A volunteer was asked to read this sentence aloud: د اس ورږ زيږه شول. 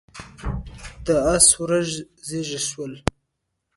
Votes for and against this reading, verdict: 0, 2, rejected